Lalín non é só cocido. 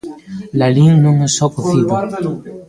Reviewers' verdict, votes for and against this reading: rejected, 1, 2